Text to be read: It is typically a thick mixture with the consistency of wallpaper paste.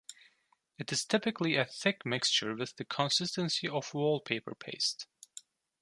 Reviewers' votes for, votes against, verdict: 2, 0, accepted